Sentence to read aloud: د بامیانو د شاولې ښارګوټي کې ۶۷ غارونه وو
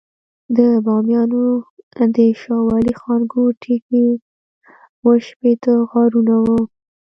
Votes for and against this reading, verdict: 0, 2, rejected